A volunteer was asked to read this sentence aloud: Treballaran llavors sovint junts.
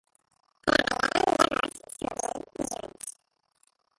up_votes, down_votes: 0, 2